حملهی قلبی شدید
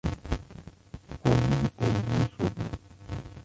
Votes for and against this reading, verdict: 0, 2, rejected